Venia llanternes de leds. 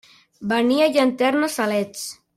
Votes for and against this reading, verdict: 0, 2, rejected